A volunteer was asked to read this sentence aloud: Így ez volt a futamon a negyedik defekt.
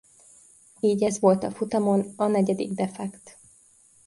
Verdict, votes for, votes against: accepted, 2, 0